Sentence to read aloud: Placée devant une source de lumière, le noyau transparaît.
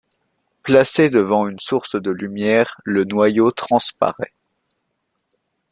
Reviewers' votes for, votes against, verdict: 2, 0, accepted